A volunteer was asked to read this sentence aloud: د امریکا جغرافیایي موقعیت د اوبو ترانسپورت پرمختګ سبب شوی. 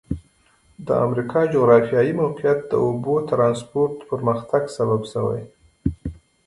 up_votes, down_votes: 2, 1